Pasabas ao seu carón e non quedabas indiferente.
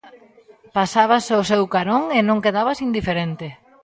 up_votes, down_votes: 2, 0